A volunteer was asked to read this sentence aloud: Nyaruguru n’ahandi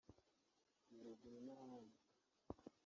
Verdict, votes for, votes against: rejected, 0, 2